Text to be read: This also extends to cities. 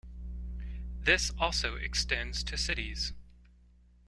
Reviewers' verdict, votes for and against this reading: accepted, 2, 0